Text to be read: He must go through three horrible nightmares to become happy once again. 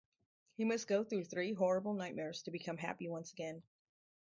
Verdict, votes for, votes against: accepted, 4, 0